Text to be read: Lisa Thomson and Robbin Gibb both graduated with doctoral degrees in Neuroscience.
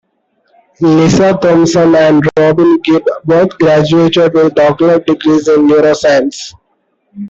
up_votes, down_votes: 1, 2